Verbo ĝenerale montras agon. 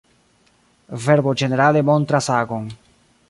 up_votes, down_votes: 0, 2